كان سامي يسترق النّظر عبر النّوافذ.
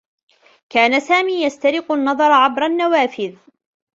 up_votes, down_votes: 2, 0